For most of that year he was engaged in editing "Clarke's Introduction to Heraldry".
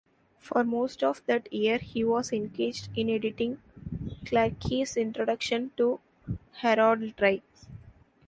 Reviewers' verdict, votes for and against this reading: rejected, 1, 2